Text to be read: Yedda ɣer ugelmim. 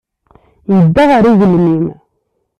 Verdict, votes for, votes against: accepted, 2, 0